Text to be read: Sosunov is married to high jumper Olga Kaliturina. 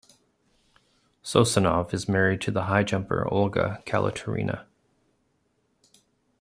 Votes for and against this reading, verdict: 2, 1, accepted